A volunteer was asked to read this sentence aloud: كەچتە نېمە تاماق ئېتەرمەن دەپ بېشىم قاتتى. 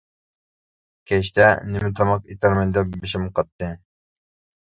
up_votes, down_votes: 2, 0